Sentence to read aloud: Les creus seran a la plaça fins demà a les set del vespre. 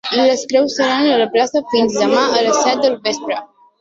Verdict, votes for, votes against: accepted, 3, 1